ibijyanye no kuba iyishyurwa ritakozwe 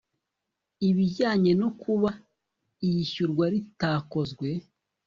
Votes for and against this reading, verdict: 2, 0, accepted